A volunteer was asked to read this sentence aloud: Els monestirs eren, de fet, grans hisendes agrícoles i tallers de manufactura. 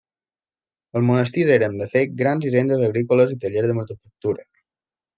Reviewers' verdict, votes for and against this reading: rejected, 1, 2